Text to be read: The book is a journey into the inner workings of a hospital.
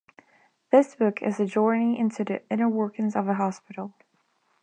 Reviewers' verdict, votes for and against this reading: rejected, 1, 2